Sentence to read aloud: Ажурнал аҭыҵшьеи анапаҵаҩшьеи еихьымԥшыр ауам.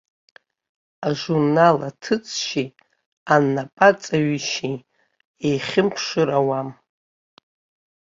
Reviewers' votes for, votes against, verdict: 2, 1, accepted